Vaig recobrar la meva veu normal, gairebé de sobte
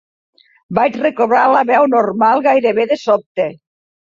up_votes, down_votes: 1, 2